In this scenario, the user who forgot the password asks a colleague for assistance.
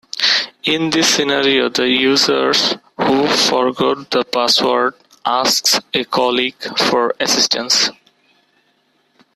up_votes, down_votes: 2, 1